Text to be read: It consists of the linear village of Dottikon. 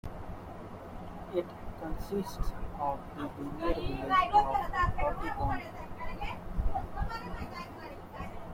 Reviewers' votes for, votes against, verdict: 0, 2, rejected